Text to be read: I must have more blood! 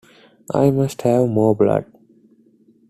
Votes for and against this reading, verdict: 2, 0, accepted